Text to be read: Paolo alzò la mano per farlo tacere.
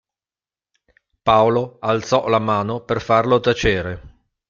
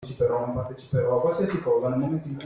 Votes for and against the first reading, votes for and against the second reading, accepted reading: 2, 0, 0, 2, first